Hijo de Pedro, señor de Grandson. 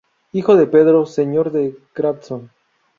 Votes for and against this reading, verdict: 2, 0, accepted